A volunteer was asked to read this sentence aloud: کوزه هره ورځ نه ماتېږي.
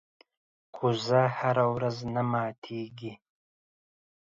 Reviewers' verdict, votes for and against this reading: accepted, 2, 0